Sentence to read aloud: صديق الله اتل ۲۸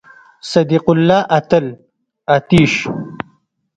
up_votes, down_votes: 0, 2